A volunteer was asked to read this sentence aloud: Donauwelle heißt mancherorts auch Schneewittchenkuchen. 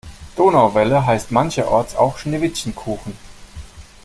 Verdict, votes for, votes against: accepted, 2, 0